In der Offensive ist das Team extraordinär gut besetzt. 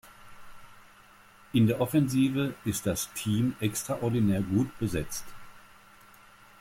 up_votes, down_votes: 2, 0